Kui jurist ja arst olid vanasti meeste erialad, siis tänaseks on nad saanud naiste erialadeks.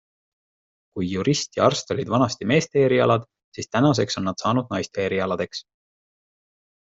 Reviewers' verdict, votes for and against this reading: accepted, 2, 0